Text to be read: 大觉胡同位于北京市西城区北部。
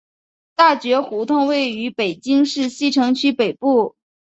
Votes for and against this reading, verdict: 2, 0, accepted